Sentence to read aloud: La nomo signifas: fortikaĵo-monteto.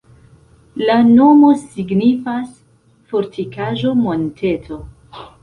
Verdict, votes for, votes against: accepted, 2, 0